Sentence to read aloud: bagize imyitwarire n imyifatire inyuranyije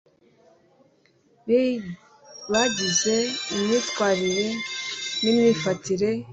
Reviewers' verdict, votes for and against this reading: rejected, 1, 2